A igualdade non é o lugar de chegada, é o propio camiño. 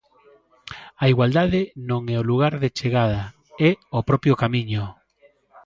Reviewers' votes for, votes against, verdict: 2, 0, accepted